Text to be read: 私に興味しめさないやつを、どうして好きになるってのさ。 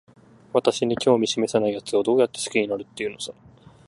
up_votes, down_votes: 0, 2